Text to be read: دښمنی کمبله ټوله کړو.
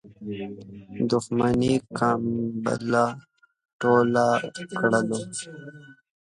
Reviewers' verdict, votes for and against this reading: accepted, 2, 0